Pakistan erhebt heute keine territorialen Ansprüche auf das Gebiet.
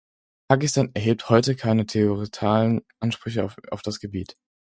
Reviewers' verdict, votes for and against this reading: rejected, 2, 4